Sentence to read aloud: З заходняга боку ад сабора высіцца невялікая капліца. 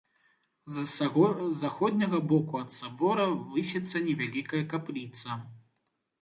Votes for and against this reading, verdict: 1, 2, rejected